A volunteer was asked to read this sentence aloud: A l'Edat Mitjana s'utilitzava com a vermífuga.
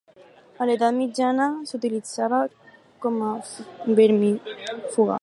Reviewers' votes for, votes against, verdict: 2, 4, rejected